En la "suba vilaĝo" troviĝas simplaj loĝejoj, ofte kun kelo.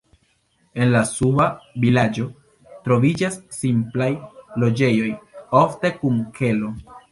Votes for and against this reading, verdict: 1, 3, rejected